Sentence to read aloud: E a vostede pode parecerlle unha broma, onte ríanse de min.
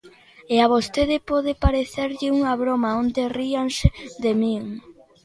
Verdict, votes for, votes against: accepted, 2, 0